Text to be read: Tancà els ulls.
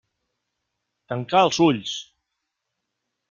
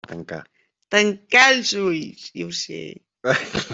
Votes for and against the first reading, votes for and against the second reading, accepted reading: 2, 0, 0, 2, first